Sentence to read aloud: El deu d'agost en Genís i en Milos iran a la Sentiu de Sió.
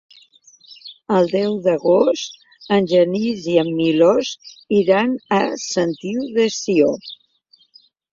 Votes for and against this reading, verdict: 0, 2, rejected